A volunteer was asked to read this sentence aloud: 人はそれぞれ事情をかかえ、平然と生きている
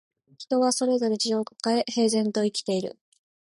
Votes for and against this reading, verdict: 2, 0, accepted